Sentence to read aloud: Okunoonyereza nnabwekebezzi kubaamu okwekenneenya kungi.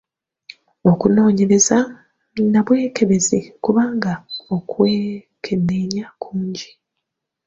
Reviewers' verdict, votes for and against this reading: rejected, 1, 2